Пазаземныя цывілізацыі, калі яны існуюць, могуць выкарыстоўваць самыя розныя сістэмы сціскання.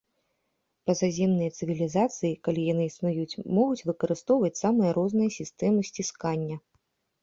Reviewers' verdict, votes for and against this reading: accepted, 2, 0